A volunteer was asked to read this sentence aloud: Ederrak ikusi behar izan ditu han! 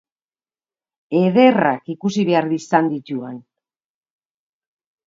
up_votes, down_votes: 8, 2